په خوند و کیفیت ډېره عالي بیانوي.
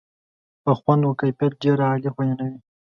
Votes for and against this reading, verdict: 2, 0, accepted